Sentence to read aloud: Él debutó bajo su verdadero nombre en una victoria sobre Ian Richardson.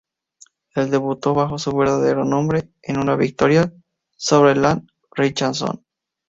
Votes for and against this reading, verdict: 2, 0, accepted